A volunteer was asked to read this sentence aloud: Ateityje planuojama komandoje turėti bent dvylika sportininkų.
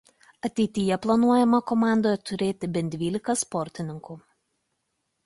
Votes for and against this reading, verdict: 2, 0, accepted